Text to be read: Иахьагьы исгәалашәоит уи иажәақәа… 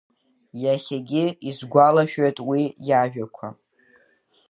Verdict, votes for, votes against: rejected, 1, 2